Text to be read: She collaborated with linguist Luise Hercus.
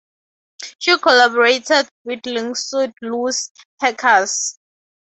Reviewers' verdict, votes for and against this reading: accepted, 2, 0